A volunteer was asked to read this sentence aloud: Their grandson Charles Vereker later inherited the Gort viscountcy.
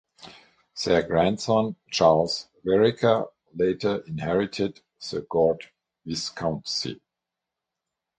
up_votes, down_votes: 6, 0